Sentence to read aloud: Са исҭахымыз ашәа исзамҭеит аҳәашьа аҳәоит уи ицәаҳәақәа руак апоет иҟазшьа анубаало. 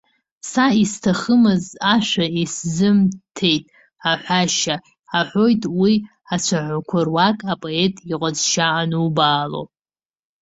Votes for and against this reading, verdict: 1, 2, rejected